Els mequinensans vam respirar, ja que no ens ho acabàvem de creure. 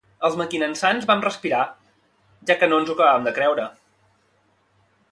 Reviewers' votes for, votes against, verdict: 2, 0, accepted